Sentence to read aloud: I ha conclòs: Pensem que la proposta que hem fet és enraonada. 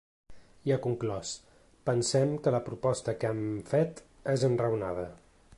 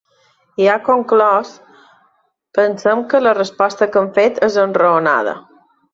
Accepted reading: first